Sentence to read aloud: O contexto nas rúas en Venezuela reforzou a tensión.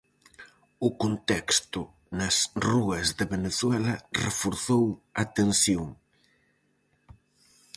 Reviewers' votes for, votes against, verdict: 0, 4, rejected